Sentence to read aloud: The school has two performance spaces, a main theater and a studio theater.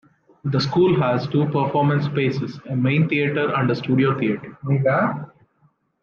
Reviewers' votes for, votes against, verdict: 2, 0, accepted